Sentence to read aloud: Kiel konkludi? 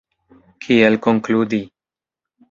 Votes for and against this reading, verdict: 2, 0, accepted